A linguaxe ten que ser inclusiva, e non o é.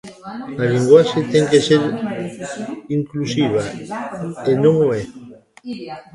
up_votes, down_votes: 1, 2